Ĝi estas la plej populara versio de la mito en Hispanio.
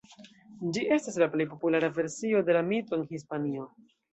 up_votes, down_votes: 1, 2